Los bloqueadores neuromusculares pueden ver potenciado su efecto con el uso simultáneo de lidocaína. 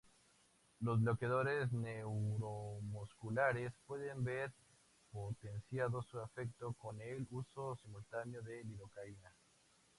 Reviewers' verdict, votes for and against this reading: rejected, 0, 2